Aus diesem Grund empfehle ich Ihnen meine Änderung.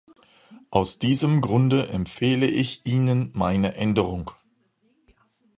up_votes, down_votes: 0, 2